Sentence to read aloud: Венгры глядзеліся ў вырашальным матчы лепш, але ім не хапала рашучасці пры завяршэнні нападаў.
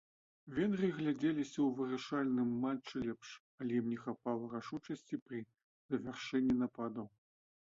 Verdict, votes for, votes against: accepted, 2, 0